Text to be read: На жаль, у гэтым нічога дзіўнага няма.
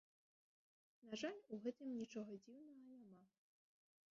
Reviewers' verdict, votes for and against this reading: rejected, 0, 3